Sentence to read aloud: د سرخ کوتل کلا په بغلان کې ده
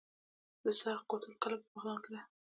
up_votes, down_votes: 2, 1